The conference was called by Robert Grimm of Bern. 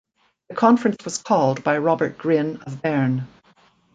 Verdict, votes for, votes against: rejected, 1, 2